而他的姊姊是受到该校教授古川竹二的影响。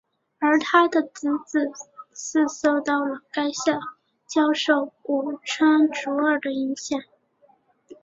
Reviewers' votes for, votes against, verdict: 2, 2, rejected